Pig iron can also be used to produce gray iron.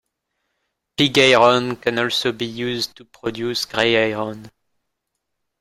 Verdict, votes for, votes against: rejected, 1, 2